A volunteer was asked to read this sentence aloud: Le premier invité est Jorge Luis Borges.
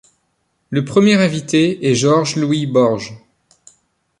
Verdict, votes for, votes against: rejected, 1, 2